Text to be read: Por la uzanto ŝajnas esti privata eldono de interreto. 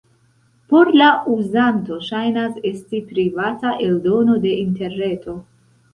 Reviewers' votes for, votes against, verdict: 2, 0, accepted